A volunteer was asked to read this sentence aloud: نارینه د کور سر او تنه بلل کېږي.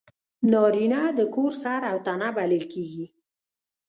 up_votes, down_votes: 0, 2